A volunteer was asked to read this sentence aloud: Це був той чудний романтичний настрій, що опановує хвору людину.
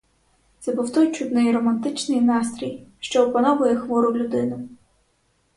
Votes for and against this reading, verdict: 4, 0, accepted